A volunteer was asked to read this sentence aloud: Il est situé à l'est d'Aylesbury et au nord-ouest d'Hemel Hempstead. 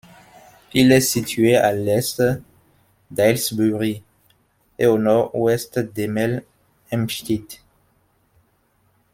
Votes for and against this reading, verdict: 1, 2, rejected